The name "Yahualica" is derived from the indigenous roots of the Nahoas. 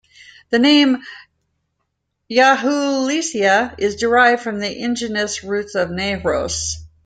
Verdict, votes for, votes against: rejected, 1, 2